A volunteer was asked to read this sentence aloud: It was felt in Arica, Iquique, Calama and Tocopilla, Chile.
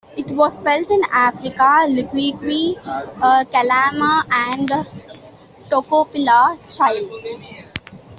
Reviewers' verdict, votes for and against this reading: rejected, 0, 2